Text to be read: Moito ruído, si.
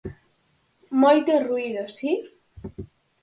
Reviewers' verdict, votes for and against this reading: accepted, 4, 0